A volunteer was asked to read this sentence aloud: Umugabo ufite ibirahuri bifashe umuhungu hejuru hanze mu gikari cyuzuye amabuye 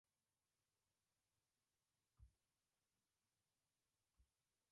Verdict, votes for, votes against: rejected, 1, 2